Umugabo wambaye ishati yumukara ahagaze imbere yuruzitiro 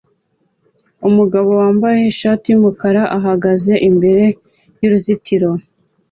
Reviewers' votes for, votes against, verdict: 2, 0, accepted